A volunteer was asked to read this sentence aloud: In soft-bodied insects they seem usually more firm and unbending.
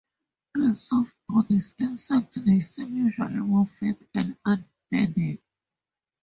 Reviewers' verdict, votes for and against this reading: rejected, 0, 2